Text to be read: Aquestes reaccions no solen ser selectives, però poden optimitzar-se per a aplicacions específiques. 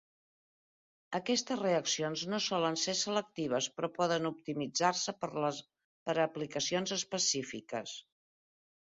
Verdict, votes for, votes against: rejected, 0, 2